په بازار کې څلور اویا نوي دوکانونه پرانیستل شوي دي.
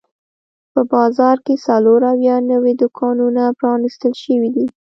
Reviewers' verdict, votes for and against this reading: rejected, 0, 2